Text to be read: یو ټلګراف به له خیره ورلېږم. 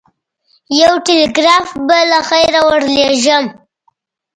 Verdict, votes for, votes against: accepted, 2, 0